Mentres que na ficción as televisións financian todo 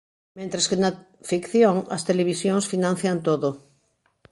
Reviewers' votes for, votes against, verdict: 0, 2, rejected